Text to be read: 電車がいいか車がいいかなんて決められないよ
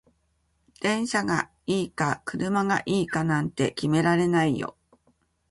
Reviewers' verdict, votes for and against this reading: accepted, 2, 0